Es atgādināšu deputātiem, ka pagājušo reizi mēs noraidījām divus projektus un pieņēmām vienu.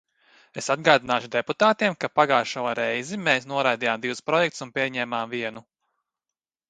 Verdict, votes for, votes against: accepted, 2, 0